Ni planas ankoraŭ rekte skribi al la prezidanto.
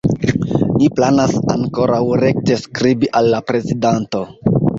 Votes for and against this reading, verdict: 2, 1, accepted